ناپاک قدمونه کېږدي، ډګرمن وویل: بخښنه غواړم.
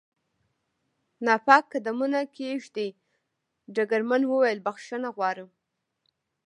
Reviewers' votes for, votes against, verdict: 1, 2, rejected